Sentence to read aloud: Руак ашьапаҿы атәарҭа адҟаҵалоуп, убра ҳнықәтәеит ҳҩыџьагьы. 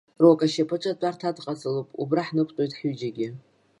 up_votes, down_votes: 0, 2